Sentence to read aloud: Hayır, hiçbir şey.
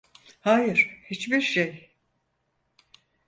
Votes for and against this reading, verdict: 4, 0, accepted